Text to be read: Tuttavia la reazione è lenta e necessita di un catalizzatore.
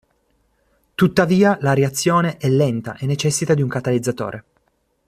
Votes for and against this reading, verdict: 2, 0, accepted